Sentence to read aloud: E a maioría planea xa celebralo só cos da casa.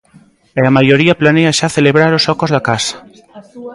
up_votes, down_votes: 2, 0